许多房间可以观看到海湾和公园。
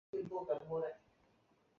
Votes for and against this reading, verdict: 0, 5, rejected